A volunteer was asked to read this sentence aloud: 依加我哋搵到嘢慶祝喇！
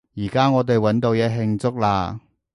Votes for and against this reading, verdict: 0, 2, rejected